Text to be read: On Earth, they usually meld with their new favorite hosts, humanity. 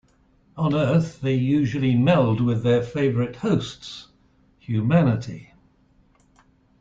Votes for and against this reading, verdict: 1, 2, rejected